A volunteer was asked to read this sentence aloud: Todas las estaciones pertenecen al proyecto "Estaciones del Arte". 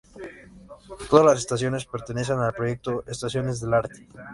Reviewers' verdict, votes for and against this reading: accepted, 2, 0